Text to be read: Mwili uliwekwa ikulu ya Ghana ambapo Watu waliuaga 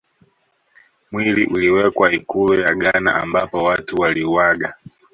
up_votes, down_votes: 2, 0